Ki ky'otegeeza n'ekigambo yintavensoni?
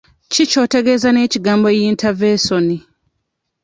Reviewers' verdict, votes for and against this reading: accepted, 2, 0